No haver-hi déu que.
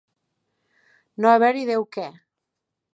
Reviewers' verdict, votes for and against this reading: accepted, 2, 0